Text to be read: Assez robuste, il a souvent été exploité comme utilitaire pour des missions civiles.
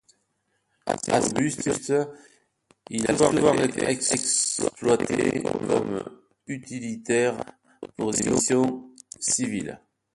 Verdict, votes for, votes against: rejected, 0, 2